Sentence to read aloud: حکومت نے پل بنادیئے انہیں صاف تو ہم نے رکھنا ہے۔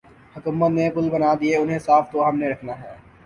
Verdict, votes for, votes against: accepted, 2, 0